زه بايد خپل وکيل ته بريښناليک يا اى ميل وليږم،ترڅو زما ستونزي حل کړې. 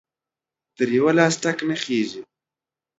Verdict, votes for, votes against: rejected, 1, 2